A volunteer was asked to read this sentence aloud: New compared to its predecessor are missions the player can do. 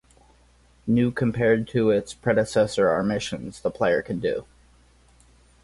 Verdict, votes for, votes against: accepted, 4, 0